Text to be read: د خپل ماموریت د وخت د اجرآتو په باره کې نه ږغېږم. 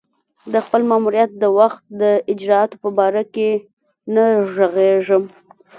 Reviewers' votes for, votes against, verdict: 2, 0, accepted